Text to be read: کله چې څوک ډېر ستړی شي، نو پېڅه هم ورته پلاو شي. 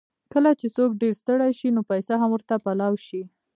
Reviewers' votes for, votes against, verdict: 2, 0, accepted